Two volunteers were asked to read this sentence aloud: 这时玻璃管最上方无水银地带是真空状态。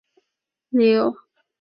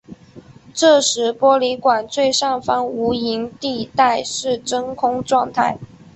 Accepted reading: second